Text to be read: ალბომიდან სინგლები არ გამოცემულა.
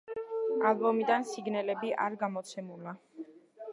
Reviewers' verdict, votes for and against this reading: accepted, 2, 0